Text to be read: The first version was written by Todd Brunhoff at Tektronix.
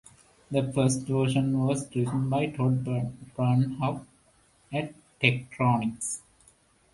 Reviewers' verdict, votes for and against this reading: rejected, 0, 2